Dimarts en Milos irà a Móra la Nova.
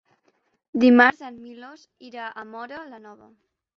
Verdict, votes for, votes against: accepted, 3, 0